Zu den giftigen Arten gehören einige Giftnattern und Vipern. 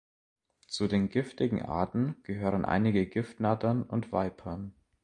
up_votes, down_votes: 2, 0